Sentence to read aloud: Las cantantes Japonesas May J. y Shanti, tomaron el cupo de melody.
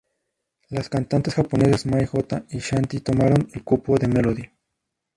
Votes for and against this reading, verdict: 0, 2, rejected